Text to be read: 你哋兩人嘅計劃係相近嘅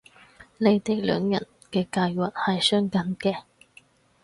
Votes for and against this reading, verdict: 4, 0, accepted